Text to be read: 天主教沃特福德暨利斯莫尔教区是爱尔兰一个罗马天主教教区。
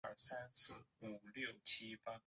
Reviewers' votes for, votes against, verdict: 0, 2, rejected